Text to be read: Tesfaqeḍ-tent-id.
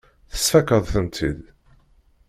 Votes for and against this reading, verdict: 1, 2, rejected